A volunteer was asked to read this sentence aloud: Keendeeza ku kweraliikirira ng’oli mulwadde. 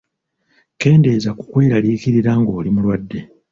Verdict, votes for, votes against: rejected, 0, 2